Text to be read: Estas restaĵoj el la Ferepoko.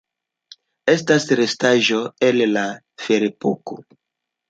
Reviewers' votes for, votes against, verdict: 0, 2, rejected